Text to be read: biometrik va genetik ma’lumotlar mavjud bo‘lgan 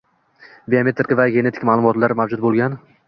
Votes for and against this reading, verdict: 2, 0, accepted